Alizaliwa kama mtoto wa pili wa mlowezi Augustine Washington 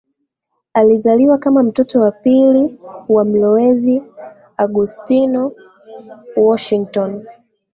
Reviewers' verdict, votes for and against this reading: accepted, 2, 1